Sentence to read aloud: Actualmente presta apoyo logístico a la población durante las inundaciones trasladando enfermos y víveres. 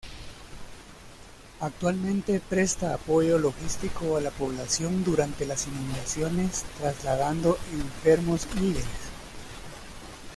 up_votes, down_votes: 0, 2